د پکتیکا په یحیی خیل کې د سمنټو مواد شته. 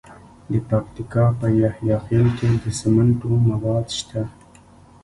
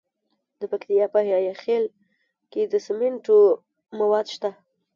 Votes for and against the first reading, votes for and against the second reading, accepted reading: 2, 1, 0, 2, first